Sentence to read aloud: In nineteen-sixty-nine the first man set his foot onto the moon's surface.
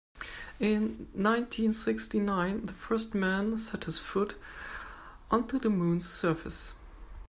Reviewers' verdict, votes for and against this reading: accepted, 2, 0